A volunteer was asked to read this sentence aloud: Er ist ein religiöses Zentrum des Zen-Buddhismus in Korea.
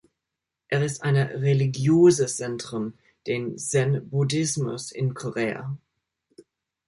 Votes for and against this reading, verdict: 0, 2, rejected